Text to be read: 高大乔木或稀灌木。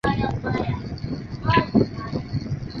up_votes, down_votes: 5, 7